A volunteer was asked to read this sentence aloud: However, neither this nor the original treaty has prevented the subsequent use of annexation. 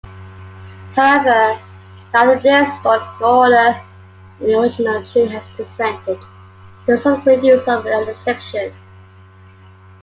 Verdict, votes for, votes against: rejected, 0, 2